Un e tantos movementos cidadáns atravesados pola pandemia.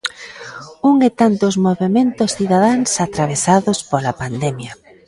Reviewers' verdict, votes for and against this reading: rejected, 0, 2